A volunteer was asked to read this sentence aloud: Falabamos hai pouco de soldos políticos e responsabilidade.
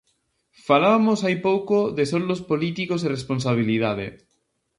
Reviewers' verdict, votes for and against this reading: rejected, 0, 2